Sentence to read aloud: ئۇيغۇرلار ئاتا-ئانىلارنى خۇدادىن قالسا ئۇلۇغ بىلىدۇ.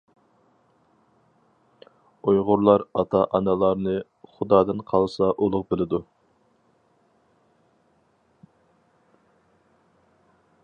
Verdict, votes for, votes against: accepted, 4, 0